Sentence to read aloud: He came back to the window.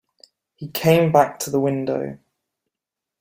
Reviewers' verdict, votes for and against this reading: accepted, 2, 0